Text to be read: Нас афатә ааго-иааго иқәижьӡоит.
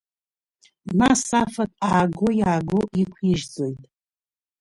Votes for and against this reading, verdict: 0, 2, rejected